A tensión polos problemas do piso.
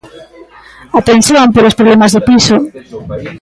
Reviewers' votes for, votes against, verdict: 2, 1, accepted